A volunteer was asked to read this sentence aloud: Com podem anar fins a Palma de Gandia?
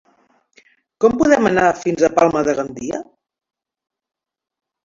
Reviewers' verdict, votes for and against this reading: accepted, 3, 0